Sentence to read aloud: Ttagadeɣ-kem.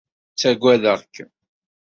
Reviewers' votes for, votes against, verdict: 2, 0, accepted